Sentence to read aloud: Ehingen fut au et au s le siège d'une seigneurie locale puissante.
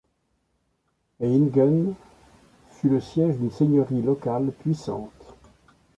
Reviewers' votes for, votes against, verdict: 2, 1, accepted